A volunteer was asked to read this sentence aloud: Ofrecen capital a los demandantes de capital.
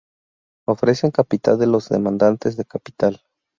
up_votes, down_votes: 0, 2